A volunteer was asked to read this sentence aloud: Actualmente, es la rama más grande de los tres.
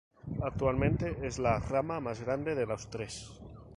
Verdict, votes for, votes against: rejected, 2, 2